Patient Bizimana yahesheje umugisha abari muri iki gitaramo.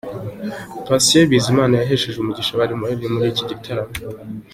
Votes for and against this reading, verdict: 2, 0, accepted